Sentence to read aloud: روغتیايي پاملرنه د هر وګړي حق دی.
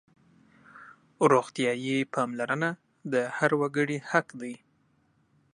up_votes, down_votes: 2, 0